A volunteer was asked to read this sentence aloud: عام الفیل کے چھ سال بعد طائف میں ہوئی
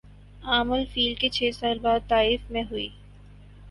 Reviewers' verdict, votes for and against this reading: accepted, 6, 0